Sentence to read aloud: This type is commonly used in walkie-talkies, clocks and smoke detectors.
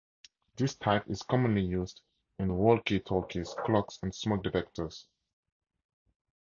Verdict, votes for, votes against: rejected, 2, 2